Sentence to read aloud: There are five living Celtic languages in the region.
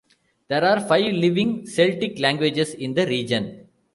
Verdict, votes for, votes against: rejected, 1, 2